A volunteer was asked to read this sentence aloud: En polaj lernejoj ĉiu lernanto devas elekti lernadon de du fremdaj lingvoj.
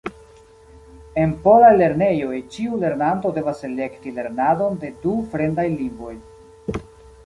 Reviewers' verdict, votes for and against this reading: accepted, 3, 0